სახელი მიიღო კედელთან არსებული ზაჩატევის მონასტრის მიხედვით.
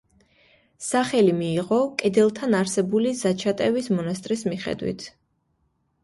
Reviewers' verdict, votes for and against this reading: accepted, 2, 1